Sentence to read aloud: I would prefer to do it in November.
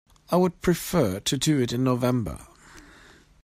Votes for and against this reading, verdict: 2, 0, accepted